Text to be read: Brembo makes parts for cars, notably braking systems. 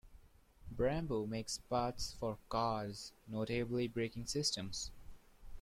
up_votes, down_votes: 2, 0